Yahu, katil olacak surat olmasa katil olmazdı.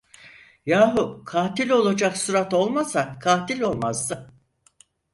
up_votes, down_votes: 4, 0